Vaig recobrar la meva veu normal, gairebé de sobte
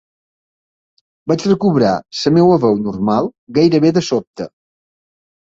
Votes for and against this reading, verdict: 0, 2, rejected